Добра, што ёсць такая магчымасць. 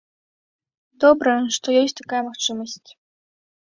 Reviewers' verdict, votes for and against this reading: accepted, 2, 0